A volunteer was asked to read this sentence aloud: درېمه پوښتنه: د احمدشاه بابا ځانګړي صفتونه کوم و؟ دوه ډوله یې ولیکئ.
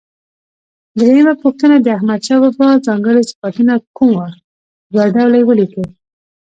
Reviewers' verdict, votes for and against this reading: rejected, 1, 2